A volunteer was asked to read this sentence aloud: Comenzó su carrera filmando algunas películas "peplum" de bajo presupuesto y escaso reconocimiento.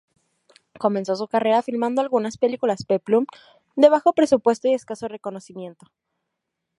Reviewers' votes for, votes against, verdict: 2, 0, accepted